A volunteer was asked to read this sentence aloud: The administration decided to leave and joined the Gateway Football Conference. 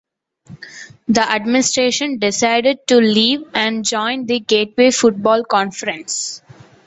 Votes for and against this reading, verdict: 2, 0, accepted